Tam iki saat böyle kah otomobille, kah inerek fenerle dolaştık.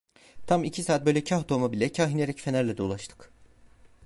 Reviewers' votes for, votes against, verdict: 1, 2, rejected